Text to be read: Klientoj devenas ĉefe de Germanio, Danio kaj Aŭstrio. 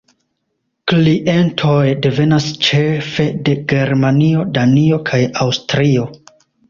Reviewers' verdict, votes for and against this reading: rejected, 1, 2